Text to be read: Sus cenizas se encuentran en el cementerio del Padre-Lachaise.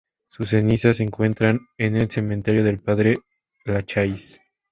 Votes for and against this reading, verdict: 2, 0, accepted